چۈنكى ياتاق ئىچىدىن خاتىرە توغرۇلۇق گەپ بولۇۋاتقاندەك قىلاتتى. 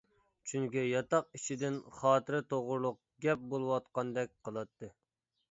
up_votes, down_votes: 2, 0